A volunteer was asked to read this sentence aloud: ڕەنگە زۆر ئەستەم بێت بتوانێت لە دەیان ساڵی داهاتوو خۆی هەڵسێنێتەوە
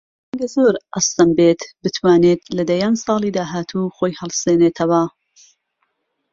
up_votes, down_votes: 2, 3